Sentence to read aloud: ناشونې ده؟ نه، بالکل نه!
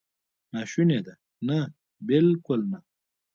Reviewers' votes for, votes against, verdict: 2, 1, accepted